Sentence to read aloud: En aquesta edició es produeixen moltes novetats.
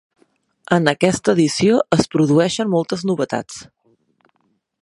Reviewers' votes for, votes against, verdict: 3, 0, accepted